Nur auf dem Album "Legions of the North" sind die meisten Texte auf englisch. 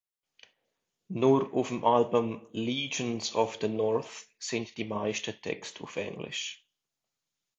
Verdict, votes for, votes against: accepted, 2, 1